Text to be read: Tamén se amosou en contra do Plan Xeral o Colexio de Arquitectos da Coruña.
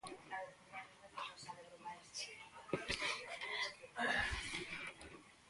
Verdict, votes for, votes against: rejected, 0, 2